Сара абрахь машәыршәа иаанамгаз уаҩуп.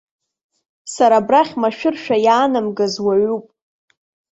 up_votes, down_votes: 2, 0